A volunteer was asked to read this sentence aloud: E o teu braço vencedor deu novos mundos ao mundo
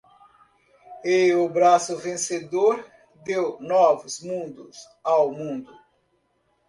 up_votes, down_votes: 0, 2